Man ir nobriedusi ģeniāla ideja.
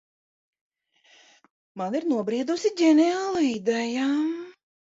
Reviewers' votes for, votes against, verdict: 0, 2, rejected